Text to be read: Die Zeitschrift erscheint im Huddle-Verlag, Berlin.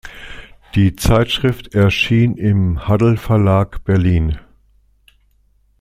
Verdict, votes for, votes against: rejected, 0, 2